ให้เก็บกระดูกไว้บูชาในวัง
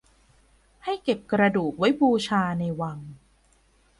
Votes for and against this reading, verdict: 3, 0, accepted